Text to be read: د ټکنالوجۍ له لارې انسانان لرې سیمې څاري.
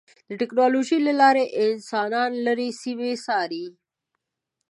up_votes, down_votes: 2, 0